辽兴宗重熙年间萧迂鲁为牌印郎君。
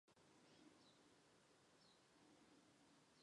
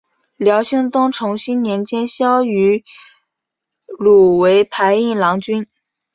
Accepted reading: second